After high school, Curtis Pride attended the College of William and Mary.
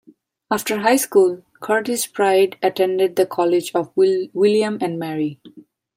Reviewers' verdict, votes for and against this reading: rejected, 0, 2